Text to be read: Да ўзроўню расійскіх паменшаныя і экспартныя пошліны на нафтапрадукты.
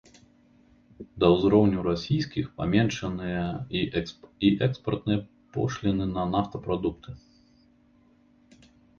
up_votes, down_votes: 0, 2